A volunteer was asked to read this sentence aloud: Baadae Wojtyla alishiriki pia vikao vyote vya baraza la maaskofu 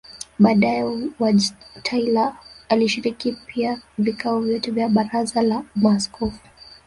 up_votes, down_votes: 0, 2